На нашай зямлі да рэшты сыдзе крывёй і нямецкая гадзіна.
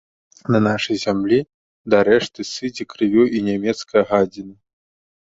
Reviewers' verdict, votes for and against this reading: accepted, 2, 0